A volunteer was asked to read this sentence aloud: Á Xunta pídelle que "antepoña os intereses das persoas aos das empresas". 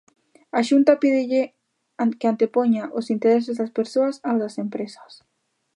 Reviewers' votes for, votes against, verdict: 0, 2, rejected